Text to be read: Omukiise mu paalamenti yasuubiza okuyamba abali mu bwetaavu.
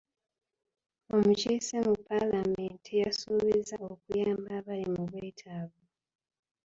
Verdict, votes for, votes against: rejected, 0, 2